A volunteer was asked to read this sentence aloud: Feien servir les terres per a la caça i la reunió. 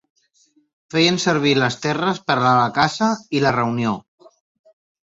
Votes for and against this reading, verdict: 2, 1, accepted